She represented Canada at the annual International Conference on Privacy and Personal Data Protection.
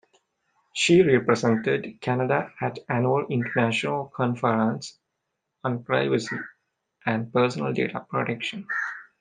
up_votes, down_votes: 1, 2